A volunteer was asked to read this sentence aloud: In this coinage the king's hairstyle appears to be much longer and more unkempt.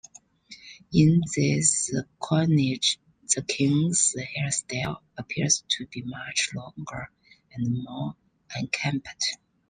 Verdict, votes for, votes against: accepted, 3, 0